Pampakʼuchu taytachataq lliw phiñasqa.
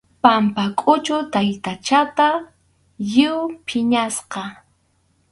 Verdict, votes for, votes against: rejected, 2, 2